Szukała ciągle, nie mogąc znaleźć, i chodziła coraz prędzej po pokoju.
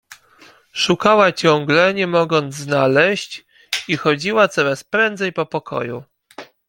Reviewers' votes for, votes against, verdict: 2, 0, accepted